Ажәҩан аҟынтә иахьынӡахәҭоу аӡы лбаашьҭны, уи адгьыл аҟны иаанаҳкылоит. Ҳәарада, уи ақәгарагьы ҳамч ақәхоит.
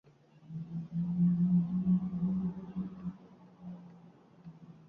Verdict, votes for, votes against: rejected, 0, 2